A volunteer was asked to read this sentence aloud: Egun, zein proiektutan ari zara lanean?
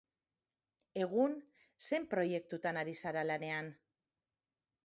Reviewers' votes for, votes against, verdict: 4, 0, accepted